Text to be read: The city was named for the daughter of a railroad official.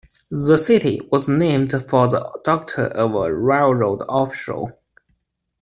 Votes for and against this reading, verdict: 0, 2, rejected